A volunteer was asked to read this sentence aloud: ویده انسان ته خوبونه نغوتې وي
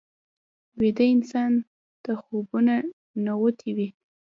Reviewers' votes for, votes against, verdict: 1, 2, rejected